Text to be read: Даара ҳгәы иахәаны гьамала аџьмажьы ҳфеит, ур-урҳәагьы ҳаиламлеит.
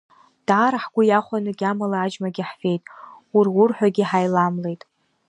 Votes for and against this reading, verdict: 2, 1, accepted